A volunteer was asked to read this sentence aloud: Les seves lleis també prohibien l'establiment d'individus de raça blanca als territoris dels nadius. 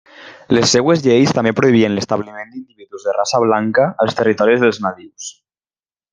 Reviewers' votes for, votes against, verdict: 0, 2, rejected